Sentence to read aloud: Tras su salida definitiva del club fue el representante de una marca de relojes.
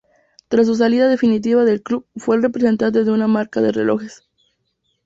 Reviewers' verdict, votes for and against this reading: accepted, 2, 0